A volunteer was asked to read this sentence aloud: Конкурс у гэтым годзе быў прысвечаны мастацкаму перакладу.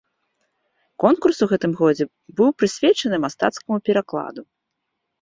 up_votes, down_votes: 2, 0